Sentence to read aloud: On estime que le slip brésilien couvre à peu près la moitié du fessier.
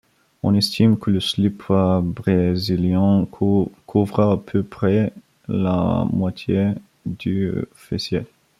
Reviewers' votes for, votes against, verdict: 1, 2, rejected